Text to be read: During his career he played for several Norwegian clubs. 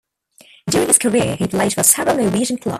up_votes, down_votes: 0, 2